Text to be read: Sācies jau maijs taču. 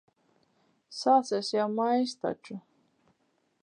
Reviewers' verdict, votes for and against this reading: accepted, 4, 0